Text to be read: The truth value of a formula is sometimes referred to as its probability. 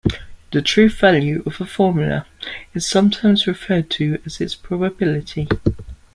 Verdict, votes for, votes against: accepted, 2, 0